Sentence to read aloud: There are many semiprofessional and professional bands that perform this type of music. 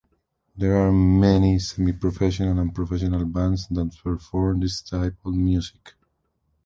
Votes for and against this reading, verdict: 2, 0, accepted